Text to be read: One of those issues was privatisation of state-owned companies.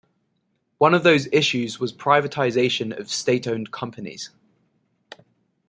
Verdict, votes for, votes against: accepted, 3, 0